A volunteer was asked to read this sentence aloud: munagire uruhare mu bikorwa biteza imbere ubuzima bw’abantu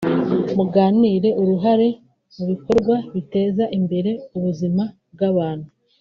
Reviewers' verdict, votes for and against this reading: rejected, 1, 3